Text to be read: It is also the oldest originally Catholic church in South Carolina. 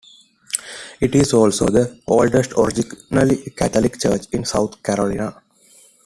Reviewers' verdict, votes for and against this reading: accepted, 2, 1